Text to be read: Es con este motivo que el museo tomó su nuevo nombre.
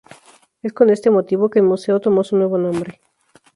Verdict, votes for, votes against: rejected, 0, 2